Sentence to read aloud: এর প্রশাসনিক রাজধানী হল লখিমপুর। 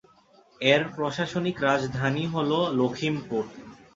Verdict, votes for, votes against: accepted, 5, 0